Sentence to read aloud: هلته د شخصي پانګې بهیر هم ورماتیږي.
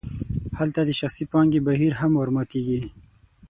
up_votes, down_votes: 6, 0